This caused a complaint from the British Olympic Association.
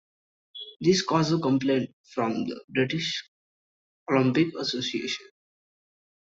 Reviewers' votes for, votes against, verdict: 1, 2, rejected